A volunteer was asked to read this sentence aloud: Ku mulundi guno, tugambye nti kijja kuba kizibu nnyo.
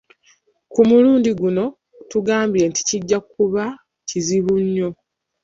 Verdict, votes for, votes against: rejected, 0, 2